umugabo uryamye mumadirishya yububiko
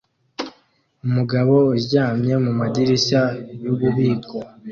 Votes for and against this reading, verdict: 2, 0, accepted